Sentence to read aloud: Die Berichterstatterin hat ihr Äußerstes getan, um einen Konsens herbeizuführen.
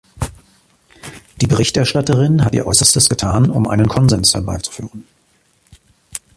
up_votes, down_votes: 2, 0